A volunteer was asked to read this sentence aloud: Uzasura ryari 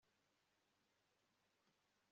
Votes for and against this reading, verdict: 1, 2, rejected